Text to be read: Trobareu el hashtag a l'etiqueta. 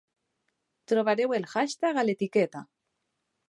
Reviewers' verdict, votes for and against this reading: accepted, 3, 0